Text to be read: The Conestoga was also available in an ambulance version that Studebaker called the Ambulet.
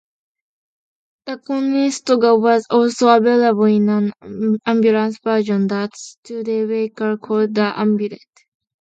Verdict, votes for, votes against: accepted, 2, 0